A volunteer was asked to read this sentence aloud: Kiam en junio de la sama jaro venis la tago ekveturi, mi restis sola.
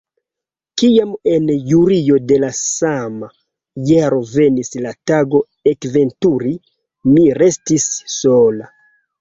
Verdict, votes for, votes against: rejected, 1, 2